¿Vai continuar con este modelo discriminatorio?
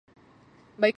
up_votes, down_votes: 0, 4